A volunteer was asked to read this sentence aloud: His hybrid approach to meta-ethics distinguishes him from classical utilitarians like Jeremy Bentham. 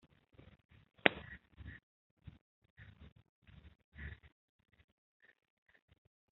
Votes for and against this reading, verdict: 0, 2, rejected